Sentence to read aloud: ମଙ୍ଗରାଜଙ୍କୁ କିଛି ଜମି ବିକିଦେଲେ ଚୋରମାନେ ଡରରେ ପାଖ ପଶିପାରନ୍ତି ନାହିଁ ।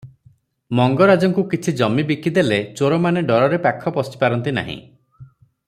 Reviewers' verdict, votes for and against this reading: rejected, 0, 3